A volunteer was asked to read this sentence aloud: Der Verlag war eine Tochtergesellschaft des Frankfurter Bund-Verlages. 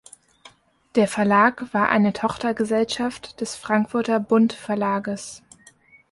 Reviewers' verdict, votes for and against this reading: accepted, 2, 1